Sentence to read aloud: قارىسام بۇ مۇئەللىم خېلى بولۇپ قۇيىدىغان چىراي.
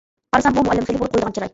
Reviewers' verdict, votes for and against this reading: rejected, 0, 2